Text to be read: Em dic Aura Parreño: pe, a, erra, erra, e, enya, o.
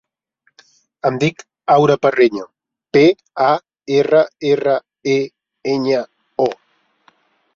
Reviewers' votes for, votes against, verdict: 3, 0, accepted